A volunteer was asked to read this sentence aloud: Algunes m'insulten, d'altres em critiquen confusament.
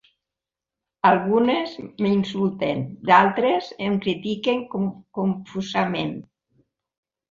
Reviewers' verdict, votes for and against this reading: rejected, 0, 3